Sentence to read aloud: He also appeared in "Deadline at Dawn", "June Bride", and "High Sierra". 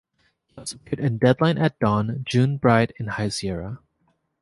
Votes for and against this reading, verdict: 0, 4, rejected